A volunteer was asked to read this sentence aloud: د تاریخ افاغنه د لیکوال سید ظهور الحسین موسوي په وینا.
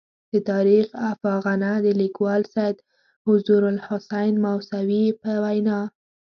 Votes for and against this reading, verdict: 1, 2, rejected